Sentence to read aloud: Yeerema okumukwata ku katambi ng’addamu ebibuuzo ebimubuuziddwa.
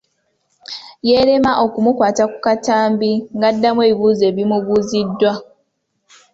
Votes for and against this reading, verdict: 2, 0, accepted